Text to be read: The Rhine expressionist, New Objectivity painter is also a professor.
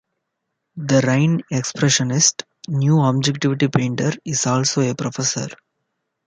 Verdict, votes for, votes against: rejected, 0, 2